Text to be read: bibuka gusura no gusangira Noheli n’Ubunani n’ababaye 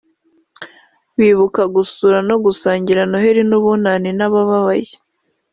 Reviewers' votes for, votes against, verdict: 1, 2, rejected